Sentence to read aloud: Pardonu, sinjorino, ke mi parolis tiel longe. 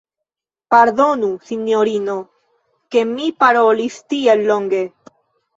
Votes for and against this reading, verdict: 1, 2, rejected